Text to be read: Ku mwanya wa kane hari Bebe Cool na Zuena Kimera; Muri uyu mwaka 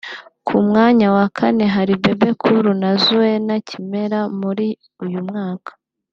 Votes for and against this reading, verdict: 2, 0, accepted